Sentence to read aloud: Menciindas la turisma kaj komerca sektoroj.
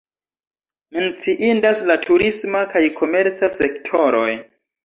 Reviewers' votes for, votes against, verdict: 2, 1, accepted